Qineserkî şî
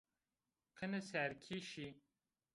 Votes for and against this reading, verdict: 2, 1, accepted